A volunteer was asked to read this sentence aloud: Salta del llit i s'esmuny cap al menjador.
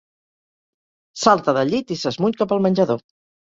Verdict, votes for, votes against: accepted, 2, 0